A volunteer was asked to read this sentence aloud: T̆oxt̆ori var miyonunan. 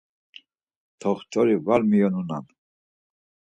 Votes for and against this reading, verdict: 4, 0, accepted